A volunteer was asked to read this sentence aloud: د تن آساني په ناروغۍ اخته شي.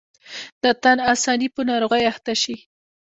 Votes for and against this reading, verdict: 1, 2, rejected